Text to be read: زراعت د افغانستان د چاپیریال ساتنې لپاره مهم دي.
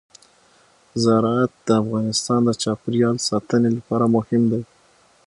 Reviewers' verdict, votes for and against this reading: accepted, 6, 0